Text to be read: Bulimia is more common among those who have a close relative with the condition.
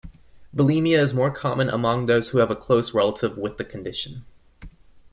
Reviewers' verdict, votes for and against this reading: accepted, 2, 0